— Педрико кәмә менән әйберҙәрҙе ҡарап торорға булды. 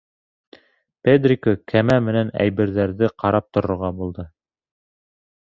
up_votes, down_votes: 3, 0